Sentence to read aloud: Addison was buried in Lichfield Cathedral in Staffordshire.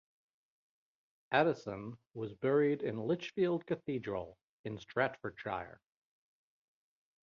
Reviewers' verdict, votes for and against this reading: rejected, 2, 3